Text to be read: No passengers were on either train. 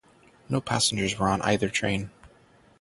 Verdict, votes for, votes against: accepted, 3, 0